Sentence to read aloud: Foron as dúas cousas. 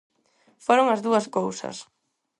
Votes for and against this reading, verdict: 4, 0, accepted